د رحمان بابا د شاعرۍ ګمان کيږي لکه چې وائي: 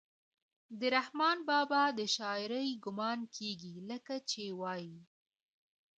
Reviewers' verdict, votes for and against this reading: accepted, 2, 0